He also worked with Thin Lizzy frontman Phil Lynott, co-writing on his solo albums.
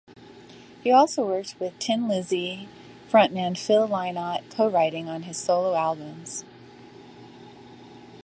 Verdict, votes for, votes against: rejected, 1, 2